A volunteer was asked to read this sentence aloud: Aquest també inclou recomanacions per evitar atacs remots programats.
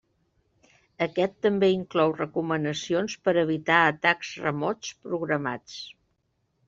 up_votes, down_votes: 3, 0